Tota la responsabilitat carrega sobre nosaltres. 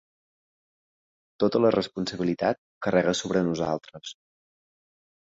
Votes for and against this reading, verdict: 3, 0, accepted